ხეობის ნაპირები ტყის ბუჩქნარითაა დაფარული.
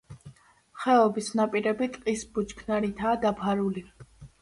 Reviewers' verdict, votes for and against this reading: accepted, 2, 0